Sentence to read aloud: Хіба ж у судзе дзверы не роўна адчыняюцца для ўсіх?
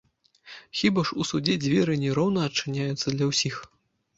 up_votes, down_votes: 1, 2